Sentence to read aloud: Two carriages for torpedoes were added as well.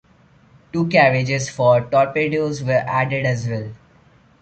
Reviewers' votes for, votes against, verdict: 2, 0, accepted